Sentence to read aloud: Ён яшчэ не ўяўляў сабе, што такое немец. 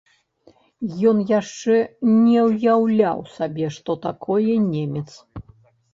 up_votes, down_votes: 2, 0